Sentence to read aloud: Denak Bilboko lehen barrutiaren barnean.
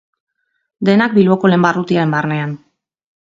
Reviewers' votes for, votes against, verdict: 2, 2, rejected